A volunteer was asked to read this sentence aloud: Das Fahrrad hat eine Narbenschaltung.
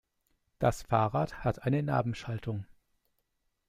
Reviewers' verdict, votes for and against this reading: accepted, 2, 0